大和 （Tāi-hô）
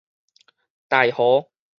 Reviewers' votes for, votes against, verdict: 4, 0, accepted